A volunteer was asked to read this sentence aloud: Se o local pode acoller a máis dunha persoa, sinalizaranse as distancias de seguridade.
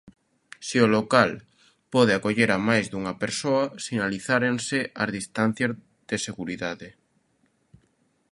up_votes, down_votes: 1, 2